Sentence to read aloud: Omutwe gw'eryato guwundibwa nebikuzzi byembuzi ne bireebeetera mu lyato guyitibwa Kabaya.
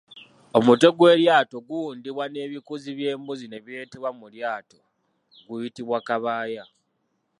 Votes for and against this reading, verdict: 1, 2, rejected